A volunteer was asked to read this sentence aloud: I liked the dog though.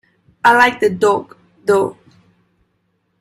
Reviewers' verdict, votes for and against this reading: rejected, 0, 2